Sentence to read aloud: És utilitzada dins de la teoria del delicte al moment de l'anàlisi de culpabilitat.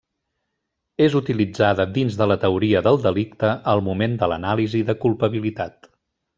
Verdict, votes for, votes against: accepted, 3, 0